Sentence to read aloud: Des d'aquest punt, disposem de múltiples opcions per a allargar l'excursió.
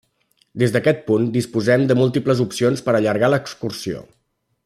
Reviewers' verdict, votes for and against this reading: accepted, 2, 0